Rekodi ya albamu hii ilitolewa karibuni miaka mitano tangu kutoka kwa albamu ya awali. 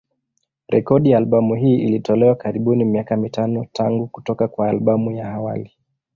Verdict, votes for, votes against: accepted, 2, 0